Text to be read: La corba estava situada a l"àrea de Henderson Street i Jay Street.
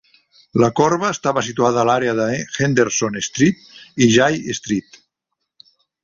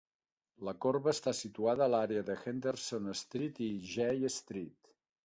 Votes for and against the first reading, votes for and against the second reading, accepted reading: 3, 1, 1, 2, first